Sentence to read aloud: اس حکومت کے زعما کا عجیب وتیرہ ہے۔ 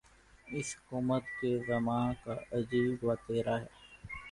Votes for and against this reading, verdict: 2, 0, accepted